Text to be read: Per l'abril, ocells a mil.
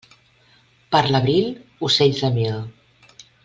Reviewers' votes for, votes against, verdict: 2, 0, accepted